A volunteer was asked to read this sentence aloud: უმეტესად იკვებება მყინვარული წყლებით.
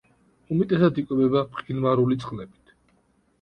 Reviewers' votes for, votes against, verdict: 2, 0, accepted